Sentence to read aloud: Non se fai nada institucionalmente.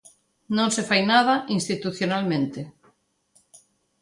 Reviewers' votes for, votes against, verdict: 2, 0, accepted